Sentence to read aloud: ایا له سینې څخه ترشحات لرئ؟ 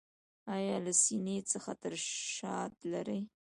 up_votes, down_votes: 1, 2